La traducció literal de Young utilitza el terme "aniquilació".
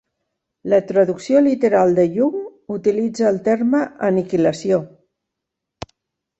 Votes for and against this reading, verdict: 3, 0, accepted